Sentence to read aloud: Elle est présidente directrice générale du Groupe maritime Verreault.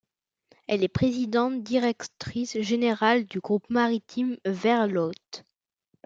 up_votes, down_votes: 0, 2